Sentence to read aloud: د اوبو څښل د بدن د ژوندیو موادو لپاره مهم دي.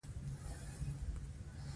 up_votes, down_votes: 1, 2